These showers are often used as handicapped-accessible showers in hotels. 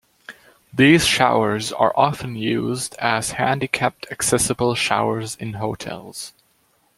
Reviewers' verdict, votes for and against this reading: rejected, 0, 2